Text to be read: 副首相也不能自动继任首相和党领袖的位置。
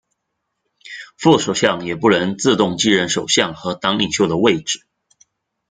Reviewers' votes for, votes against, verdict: 1, 2, rejected